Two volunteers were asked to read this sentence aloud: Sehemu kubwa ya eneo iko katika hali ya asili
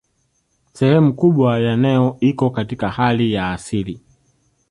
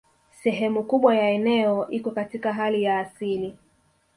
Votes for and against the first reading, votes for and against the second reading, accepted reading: 1, 2, 3, 1, second